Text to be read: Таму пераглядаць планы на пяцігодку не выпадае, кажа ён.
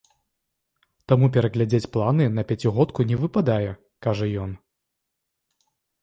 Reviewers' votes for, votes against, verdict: 1, 2, rejected